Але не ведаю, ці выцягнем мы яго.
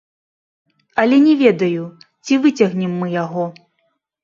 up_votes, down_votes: 0, 2